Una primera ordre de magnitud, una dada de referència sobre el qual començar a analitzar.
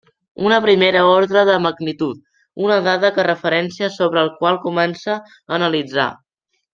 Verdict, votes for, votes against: rejected, 1, 2